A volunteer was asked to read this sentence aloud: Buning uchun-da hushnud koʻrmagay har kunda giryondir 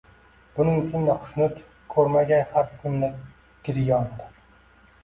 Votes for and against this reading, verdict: 0, 2, rejected